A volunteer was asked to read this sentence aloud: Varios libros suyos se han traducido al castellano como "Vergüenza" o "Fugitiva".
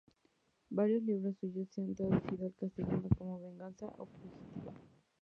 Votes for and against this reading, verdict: 2, 0, accepted